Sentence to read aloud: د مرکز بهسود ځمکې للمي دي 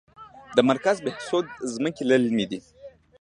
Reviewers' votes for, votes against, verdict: 2, 1, accepted